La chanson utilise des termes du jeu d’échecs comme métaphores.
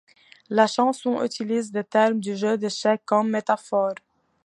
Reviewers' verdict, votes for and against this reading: accepted, 2, 0